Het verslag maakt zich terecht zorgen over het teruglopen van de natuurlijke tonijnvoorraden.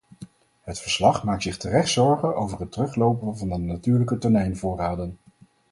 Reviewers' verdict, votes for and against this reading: accepted, 4, 0